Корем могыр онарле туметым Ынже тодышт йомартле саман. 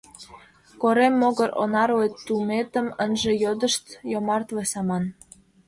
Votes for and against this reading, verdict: 1, 2, rejected